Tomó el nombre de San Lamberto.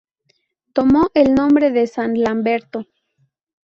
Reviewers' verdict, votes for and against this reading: accepted, 2, 0